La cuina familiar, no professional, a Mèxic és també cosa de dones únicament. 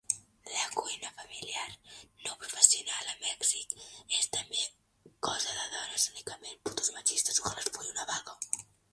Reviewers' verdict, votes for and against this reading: rejected, 1, 2